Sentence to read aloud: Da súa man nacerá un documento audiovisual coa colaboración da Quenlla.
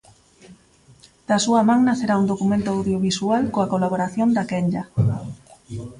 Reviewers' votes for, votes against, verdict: 0, 2, rejected